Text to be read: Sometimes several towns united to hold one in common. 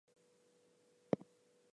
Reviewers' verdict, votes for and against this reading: accepted, 2, 0